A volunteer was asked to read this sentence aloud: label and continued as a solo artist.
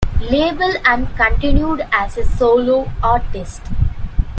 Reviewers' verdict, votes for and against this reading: accepted, 2, 1